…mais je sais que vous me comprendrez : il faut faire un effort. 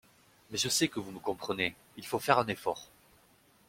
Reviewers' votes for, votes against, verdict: 2, 0, accepted